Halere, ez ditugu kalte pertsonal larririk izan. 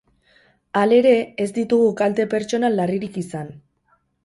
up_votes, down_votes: 2, 2